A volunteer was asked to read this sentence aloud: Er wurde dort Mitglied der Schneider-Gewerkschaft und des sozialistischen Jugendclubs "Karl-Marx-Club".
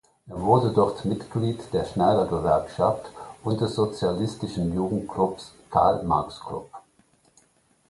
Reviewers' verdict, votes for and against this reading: accepted, 2, 0